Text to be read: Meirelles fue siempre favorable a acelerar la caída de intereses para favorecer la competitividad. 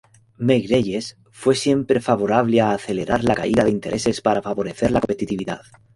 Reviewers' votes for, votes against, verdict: 0, 2, rejected